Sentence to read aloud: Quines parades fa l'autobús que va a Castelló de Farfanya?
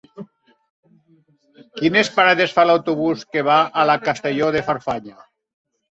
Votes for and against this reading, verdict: 0, 2, rejected